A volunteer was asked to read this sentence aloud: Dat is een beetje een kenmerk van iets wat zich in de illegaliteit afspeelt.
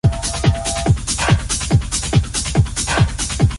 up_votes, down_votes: 0, 2